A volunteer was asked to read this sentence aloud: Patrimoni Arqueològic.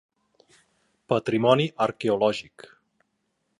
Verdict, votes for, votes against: accepted, 4, 0